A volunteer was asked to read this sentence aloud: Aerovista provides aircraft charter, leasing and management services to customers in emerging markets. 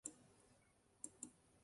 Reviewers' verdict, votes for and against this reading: rejected, 0, 2